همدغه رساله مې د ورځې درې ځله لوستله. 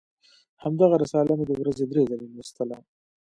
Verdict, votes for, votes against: accepted, 2, 1